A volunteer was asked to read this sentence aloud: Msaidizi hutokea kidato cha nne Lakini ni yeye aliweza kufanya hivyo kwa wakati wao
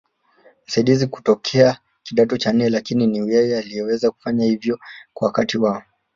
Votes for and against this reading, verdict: 1, 2, rejected